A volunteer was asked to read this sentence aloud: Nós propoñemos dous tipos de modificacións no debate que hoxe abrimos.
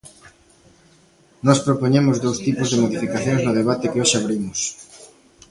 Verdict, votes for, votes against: rejected, 1, 2